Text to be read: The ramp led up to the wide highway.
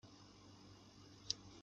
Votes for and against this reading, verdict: 0, 2, rejected